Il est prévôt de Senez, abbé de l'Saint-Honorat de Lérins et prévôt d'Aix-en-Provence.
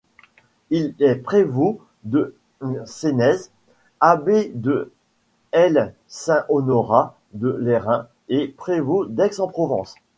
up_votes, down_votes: 1, 2